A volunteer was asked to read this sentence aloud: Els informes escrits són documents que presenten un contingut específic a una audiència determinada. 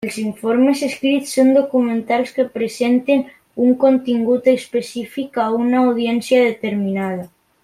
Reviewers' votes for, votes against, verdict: 0, 2, rejected